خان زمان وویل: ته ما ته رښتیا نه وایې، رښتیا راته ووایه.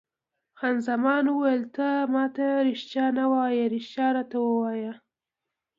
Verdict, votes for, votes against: accepted, 2, 0